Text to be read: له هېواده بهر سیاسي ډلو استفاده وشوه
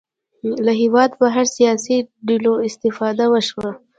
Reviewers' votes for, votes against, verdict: 1, 2, rejected